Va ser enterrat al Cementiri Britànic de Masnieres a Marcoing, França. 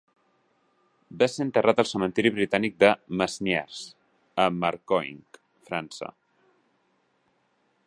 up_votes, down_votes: 2, 0